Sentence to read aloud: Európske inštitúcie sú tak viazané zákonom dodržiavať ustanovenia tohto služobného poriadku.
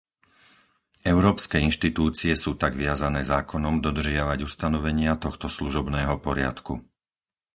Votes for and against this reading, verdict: 4, 0, accepted